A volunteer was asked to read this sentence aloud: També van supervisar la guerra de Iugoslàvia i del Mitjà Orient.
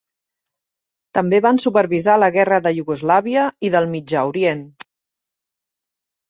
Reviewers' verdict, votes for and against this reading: accepted, 2, 0